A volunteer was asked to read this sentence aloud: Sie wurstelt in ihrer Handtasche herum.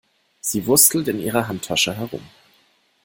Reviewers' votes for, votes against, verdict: 0, 2, rejected